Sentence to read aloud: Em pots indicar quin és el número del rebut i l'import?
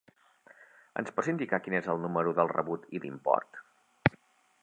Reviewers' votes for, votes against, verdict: 2, 1, accepted